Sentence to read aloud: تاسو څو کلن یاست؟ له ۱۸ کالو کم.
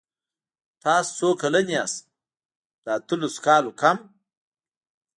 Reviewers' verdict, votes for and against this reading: rejected, 0, 2